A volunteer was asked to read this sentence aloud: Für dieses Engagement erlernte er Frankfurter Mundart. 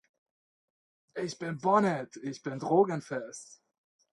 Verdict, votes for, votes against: rejected, 0, 2